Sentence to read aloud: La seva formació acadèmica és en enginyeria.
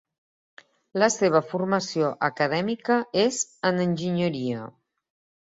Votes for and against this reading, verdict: 2, 0, accepted